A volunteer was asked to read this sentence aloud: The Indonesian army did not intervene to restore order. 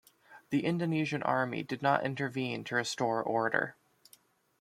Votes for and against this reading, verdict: 2, 0, accepted